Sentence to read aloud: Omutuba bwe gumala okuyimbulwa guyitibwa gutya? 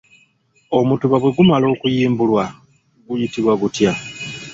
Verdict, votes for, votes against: accepted, 2, 0